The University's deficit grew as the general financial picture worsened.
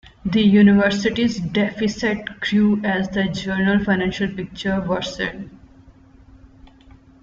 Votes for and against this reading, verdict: 0, 2, rejected